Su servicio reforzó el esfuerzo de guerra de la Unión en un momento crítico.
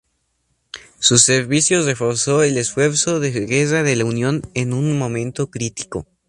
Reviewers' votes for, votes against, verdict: 2, 0, accepted